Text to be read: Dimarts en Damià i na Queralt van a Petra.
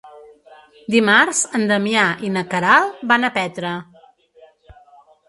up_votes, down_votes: 0, 2